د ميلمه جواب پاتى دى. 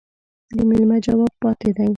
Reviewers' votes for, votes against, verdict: 0, 2, rejected